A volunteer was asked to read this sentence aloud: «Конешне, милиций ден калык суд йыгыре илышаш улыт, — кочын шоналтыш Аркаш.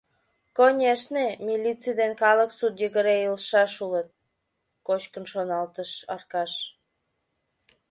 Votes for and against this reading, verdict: 1, 2, rejected